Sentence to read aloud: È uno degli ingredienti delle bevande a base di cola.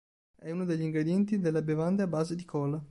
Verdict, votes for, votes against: accepted, 2, 0